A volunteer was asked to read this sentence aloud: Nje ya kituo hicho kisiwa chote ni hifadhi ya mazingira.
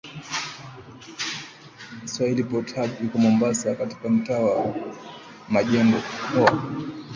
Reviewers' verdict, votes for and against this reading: rejected, 1, 2